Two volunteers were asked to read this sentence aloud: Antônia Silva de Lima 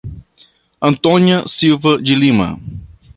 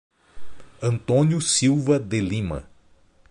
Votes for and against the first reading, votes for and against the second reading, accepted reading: 2, 0, 0, 2, first